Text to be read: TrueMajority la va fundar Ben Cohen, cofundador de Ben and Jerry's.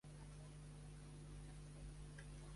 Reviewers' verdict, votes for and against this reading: rejected, 0, 2